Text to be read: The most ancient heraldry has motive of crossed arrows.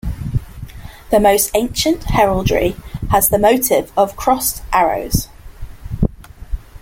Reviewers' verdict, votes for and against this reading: rejected, 1, 2